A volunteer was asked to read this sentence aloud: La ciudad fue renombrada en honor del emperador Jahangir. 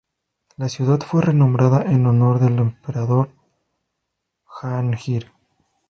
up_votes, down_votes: 2, 2